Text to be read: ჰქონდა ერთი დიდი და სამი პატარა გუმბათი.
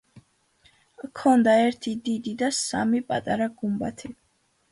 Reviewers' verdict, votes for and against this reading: accepted, 2, 0